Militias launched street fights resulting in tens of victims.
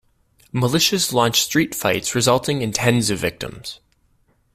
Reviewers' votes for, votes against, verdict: 2, 0, accepted